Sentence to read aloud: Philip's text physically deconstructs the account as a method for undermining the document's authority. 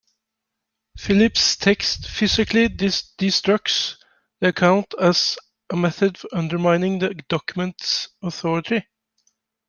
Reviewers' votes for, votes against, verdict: 1, 2, rejected